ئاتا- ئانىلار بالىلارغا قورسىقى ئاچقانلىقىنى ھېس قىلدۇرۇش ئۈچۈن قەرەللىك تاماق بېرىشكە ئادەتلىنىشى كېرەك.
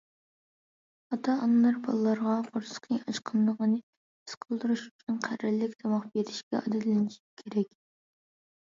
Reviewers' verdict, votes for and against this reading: rejected, 1, 2